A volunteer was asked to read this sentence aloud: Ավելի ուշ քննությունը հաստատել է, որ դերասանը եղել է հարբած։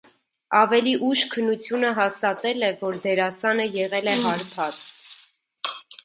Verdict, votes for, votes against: rejected, 1, 2